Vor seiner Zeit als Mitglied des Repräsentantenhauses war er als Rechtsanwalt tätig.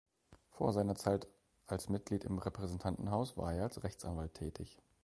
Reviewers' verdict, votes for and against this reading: rejected, 0, 2